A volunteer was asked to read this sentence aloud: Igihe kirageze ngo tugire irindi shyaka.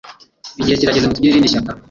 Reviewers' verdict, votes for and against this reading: rejected, 0, 2